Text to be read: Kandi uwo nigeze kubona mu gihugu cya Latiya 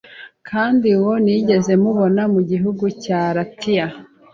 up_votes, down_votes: 0, 2